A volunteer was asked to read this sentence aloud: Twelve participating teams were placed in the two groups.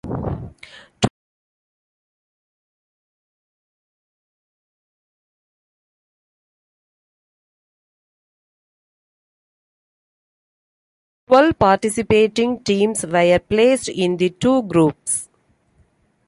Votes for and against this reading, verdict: 0, 2, rejected